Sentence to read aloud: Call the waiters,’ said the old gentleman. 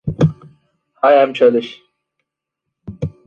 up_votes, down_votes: 0, 2